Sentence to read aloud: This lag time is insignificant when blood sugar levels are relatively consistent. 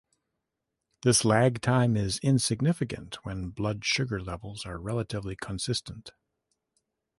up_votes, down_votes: 2, 0